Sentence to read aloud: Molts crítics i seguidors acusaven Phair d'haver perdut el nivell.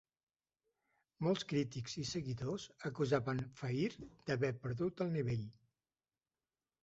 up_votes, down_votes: 2, 0